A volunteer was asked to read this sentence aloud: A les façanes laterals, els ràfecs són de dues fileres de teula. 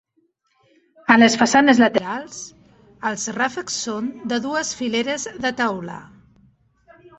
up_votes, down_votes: 3, 0